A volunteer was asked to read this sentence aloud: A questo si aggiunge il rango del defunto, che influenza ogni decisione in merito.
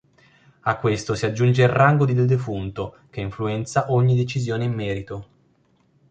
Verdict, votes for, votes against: rejected, 0, 2